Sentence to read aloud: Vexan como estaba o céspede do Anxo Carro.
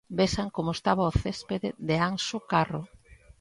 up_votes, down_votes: 1, 2